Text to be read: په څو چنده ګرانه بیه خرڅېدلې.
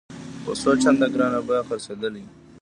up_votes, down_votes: 2, 0